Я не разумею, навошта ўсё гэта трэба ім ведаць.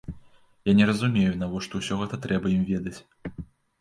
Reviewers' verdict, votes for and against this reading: accepted, 2, 0